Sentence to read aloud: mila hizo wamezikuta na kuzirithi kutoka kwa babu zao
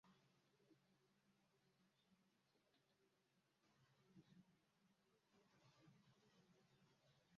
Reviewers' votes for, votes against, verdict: 0, 2, rejected